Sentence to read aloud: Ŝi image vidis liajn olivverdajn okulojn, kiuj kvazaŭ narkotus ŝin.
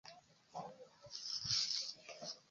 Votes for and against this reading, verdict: 0, 3, rejected